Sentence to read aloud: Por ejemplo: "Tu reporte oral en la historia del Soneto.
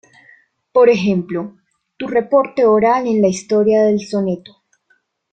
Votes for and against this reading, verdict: 2, 0, accepted